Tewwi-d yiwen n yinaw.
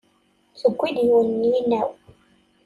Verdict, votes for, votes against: accepted, 2, 0